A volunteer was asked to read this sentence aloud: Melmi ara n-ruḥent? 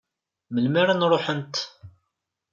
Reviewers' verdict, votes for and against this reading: accepted, 2, 0